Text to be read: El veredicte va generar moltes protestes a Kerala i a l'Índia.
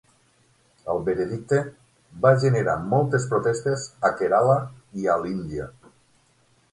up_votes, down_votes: 12, 0